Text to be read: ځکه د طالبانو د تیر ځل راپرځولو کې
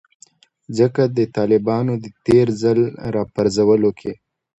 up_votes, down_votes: 2, 0